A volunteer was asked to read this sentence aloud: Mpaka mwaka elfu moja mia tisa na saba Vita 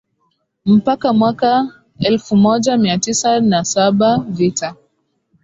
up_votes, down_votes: 3, 0